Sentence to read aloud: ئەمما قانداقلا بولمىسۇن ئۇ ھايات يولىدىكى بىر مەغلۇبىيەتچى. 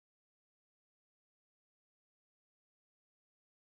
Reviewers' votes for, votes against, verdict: 0, 2, rejected